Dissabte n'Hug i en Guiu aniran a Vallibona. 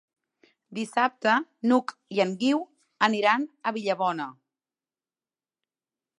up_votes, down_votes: 1, 2